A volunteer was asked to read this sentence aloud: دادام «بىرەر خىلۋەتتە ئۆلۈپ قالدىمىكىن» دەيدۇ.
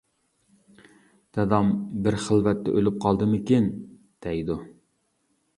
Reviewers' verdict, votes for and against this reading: rejected, 0, 2